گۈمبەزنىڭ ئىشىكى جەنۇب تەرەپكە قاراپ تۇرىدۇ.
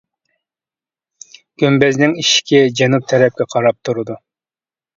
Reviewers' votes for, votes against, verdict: 2, 0, accepted